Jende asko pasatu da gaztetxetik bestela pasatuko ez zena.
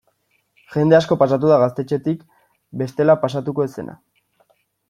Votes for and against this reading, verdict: 2, 0, accepted